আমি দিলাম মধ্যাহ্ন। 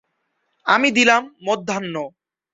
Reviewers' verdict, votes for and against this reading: accepted, 2, 0